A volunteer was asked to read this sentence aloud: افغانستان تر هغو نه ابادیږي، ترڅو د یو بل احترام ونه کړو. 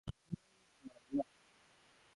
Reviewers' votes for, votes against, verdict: 1, 2, rejected